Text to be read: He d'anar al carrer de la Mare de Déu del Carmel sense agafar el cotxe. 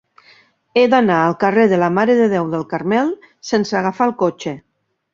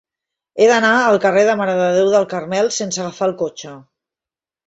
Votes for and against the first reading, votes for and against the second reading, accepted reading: 4, 0, 1, 2, first